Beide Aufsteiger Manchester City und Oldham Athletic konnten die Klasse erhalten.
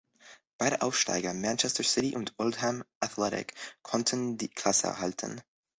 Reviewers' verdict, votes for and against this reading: accepted, 2, 0